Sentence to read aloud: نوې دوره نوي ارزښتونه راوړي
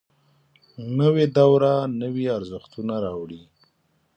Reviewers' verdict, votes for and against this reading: accepted, 3, 0